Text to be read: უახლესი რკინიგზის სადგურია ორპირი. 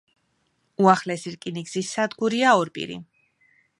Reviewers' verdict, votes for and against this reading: accepted, 2, 0